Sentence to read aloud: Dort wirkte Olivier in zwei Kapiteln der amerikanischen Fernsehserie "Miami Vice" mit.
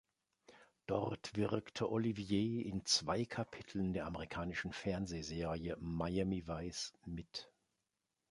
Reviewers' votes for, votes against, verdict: 2, 0, accepted